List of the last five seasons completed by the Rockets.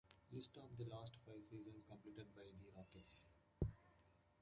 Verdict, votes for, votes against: accepted, 2, 1